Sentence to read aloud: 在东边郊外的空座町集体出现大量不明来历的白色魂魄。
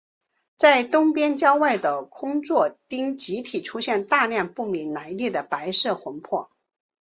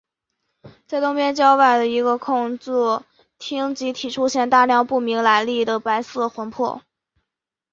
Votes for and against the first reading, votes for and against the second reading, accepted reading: 3, 0, 0, 2, first